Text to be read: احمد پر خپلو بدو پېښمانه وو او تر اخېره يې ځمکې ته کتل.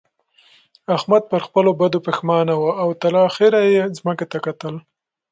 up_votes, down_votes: 2, 0